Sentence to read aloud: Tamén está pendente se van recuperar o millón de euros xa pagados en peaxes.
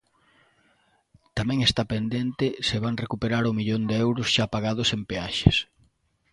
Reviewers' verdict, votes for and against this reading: accepted, 2, 0